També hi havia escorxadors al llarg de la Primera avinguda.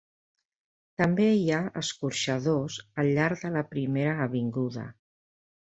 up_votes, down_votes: 0, 2